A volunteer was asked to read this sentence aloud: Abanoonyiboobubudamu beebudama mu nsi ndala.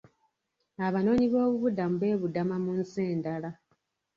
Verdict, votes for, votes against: rejected, 1, 2